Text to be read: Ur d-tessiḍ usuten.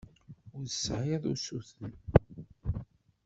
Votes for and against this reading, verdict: 1, 2, rejected